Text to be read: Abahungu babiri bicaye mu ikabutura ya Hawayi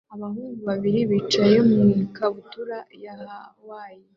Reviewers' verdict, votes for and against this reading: accepted, 2, 0